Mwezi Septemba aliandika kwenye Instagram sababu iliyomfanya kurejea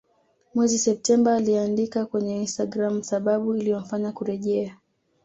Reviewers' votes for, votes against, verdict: 2, 0, accepted